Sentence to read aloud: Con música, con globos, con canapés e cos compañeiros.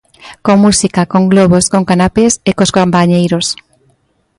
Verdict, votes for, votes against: accepted, 2, 0